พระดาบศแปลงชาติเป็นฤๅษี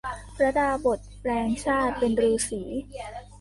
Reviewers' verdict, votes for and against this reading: rejected, 1, 2